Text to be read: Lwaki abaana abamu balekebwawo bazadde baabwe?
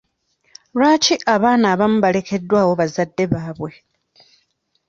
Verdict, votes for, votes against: rejected, 1, 2